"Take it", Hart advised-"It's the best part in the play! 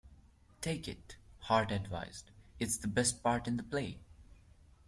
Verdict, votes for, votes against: accepted, 2, 1